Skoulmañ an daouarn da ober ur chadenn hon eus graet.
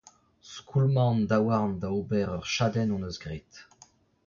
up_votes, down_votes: 2, 1